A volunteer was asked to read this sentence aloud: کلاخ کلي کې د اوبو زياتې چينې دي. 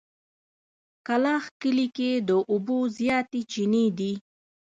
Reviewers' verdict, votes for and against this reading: accepted, 2, 0